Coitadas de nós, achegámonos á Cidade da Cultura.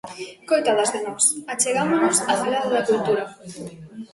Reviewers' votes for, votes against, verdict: 0, 2, rejected